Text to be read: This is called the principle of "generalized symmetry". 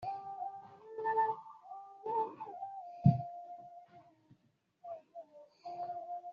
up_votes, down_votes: 0, 2